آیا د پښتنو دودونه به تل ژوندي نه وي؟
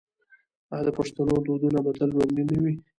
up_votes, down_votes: 2, 0